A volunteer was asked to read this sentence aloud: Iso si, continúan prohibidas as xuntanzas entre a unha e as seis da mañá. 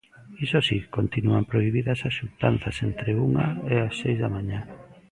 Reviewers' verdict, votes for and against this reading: rejected, 0, 2